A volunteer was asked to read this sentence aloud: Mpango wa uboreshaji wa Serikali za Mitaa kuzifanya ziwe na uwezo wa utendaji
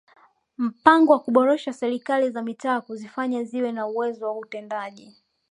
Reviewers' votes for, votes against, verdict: 2, 1, accepted